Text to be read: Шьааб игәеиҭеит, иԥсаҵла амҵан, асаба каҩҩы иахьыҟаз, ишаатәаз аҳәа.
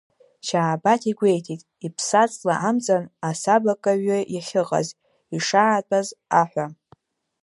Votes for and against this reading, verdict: 1, 2, rejected